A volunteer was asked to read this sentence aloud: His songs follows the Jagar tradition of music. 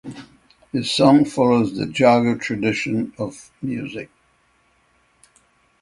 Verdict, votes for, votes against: accepted, 3, 0